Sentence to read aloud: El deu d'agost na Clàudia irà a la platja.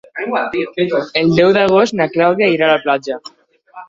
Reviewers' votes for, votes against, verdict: 1, 2, rejected